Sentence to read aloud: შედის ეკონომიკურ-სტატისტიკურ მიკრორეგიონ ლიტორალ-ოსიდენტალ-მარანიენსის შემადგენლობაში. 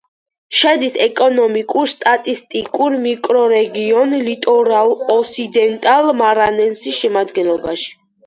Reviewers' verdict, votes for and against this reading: rejected, 2, 4